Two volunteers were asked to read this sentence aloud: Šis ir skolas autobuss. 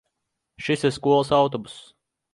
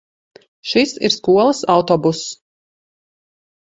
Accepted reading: second